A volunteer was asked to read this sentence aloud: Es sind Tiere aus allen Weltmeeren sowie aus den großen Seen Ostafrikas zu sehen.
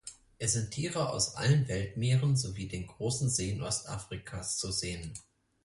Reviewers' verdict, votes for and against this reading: rejected, 2, 4